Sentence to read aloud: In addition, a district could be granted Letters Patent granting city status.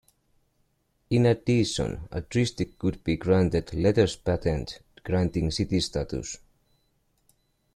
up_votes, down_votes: 1, 2